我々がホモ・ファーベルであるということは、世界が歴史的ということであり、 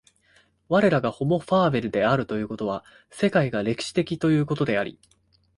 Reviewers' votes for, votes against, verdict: 1, 2, rejected